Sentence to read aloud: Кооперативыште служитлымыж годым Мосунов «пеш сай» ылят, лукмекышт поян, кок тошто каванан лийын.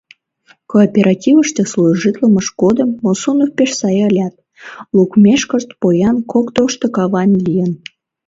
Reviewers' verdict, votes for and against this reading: rejected, 1, 2